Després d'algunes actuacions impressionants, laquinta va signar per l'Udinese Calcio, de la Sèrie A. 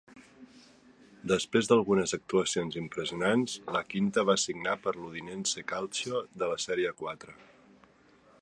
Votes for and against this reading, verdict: 2, 1, accepted